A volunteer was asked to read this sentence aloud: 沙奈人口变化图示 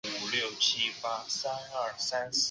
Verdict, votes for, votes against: rejected, 0, 4